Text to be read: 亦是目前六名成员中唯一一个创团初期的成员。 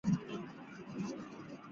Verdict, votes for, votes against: rejected, 1, 2